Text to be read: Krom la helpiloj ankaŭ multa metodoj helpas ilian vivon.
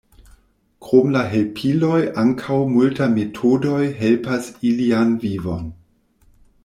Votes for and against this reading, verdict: 0, 2, rejected